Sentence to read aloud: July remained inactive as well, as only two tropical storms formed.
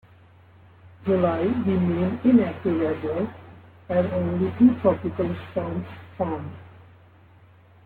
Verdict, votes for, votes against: rejected, 0, 2